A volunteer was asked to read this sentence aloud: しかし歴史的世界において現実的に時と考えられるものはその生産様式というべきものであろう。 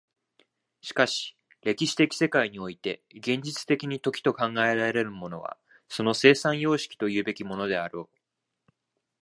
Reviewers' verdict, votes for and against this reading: rejected, 0, 2